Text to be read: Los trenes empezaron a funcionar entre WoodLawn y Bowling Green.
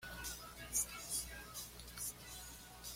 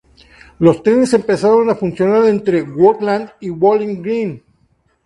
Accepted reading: second